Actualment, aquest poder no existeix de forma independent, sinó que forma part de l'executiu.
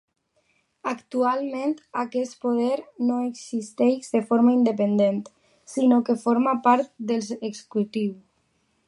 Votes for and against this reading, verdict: 1, 2, rejected